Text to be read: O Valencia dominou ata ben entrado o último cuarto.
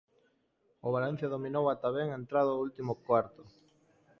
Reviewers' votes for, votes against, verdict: 2, 0, accepted